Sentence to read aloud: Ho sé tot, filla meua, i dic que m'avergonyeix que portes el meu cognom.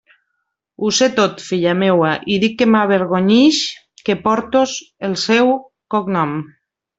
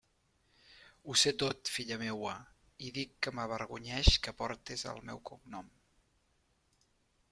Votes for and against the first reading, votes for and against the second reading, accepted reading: 0, 2, 2, 0, second